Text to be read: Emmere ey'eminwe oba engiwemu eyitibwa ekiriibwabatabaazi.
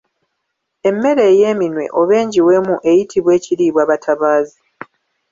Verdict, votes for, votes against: rejected, 1, 2